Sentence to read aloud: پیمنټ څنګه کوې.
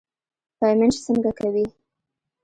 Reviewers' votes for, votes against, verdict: 1, 2, rejected